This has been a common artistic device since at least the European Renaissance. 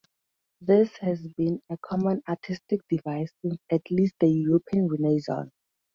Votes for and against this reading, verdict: 2, 0, accepted